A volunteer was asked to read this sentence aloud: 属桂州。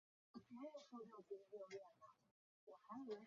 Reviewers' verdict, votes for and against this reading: rejected, 2, 3